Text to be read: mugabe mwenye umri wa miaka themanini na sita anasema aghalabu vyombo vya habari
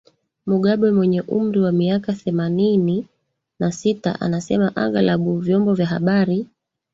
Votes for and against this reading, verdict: 2, 3, rejected